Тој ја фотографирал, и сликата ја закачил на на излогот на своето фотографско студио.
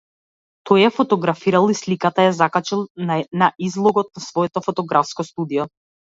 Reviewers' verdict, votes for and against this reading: rejected, 0, 2